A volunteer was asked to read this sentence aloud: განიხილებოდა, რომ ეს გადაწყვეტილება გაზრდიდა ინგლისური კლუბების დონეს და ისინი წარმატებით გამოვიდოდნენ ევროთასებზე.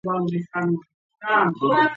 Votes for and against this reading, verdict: 0, 2, rejected